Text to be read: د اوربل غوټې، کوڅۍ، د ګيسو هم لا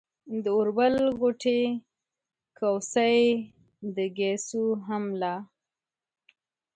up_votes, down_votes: 1, 2